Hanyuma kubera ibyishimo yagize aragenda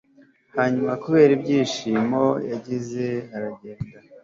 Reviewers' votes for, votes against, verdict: 2, 0, accepted